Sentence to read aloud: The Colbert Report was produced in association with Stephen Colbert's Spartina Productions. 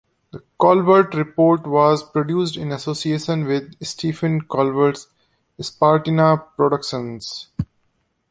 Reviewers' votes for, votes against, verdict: 0, 2, rejected